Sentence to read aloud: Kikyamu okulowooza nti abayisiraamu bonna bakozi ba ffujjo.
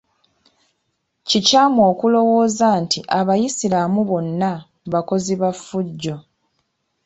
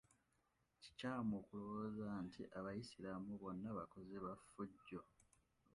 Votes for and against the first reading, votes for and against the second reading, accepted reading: 2, 1, 0, 2, first